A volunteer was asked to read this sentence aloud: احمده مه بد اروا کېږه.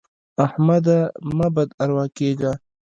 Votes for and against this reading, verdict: 1, 2, rejected